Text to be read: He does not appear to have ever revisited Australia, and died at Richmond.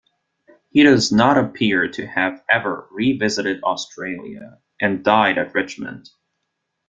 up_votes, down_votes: 2, 0